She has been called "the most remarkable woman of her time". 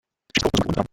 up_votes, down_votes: 0, 2